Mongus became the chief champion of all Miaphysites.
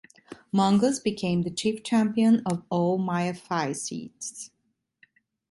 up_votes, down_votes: 1, 2